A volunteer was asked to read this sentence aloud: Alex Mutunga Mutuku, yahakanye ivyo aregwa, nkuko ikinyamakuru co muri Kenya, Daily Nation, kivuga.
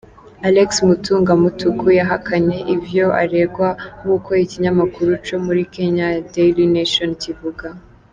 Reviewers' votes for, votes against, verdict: 2, 0, accepted